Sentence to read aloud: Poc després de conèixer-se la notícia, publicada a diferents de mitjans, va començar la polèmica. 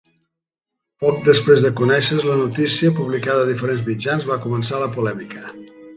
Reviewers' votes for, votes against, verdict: 0, 2, rejected